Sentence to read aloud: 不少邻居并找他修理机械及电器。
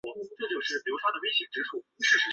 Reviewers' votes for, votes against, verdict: 0, 3, rejected